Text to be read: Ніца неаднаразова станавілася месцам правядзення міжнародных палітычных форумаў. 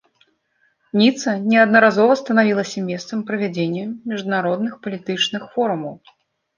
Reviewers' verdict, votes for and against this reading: accepted, 2, 0